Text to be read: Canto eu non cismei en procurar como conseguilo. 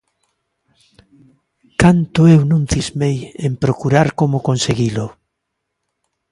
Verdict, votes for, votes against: accepted, 2, 0